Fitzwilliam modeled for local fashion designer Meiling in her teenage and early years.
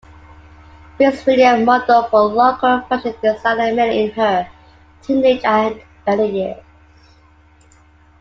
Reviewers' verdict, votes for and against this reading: rejected, 0, 2